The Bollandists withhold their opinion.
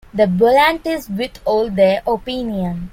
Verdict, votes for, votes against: accepted, 2, 1